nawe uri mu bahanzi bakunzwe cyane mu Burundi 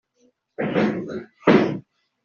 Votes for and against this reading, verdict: 0, 2, rejected